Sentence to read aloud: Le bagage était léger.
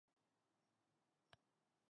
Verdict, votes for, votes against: rejected, 0, 2